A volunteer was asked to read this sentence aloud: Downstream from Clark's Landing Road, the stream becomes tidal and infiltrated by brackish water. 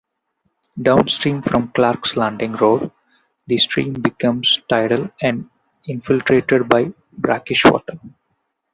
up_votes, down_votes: 2, 0